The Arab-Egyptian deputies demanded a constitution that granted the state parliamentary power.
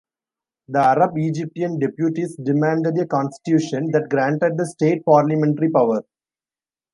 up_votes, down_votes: 2, 0